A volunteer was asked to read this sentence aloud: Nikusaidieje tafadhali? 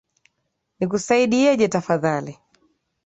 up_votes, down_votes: 10, 0